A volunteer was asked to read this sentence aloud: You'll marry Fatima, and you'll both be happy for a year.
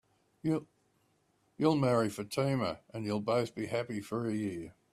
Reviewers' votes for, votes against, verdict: 3, 2, accepted